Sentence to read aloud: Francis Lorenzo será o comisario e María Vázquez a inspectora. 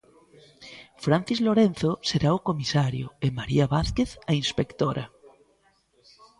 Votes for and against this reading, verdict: 1, 2, rejected